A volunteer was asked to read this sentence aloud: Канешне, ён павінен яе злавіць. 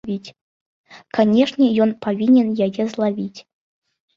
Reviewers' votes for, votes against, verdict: 1, 2, rejected